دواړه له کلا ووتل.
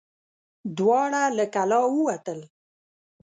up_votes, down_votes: 6, 0